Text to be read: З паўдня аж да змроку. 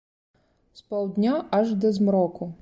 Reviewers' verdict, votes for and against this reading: accepted, 2, 0